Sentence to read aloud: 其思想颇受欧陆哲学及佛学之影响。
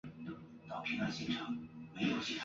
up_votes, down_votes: 0, 2